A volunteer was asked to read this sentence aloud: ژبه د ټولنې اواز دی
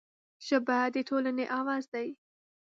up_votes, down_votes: 2, 0